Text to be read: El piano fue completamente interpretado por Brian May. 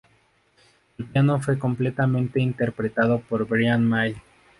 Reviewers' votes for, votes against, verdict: 0, 2, rejected